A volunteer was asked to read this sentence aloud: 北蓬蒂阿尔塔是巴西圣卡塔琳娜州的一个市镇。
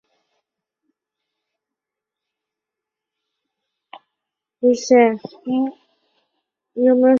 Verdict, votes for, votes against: rejected, 0, 2